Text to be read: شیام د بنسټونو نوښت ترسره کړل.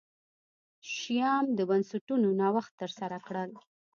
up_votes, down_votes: 2, 0